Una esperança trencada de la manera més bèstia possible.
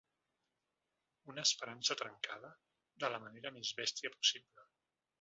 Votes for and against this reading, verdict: 2, 0, accepted